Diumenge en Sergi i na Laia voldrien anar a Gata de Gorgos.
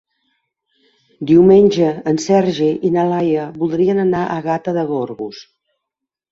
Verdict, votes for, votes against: accepted, 4, 0